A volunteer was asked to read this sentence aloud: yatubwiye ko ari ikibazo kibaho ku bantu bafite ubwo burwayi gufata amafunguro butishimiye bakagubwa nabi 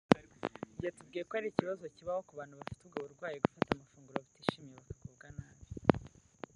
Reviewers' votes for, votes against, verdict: 1, 2, rejected